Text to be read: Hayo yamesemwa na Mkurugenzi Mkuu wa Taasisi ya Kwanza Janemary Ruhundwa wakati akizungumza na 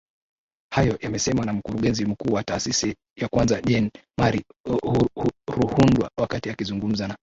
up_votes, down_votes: 1, 2